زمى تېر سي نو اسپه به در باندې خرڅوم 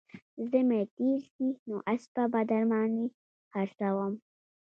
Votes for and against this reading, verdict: 0, 2, rejected